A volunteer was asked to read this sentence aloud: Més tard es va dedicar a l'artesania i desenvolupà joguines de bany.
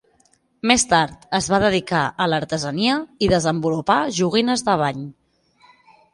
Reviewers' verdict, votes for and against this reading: accepted, 5, 0